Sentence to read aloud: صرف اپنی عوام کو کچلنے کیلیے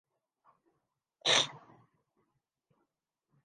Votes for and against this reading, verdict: 5, 13, rejected